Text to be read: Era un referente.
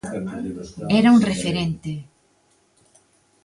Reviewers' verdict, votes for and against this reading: accepted, 2, 0